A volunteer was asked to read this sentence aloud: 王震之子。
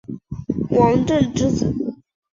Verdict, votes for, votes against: accepted, 3, 1